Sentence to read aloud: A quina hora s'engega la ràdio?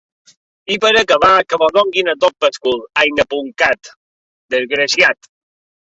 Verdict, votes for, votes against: rejected, 0, 2